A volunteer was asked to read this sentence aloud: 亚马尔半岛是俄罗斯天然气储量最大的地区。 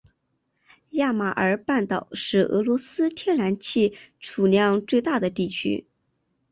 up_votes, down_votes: 0, 2